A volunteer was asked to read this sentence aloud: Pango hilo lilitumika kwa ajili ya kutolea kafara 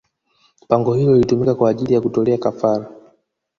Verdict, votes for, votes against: rejected, 0, 2